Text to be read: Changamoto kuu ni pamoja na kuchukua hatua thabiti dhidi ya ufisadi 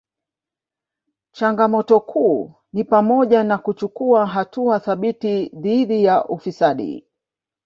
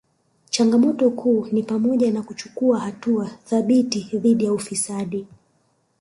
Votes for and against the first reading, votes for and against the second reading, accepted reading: 1, 2, 3, 0, second